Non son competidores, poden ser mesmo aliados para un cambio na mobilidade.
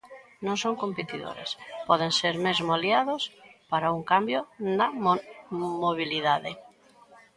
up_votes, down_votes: 0, 2